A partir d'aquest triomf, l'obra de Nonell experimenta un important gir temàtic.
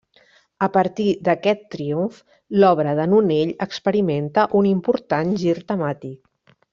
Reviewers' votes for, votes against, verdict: 1, 2, rejected